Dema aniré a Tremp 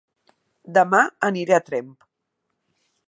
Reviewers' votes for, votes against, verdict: 2, 0, accepted